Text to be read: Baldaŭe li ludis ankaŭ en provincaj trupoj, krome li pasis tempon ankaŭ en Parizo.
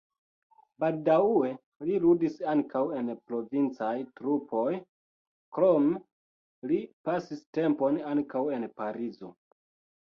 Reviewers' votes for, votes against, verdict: 0, 2, rejected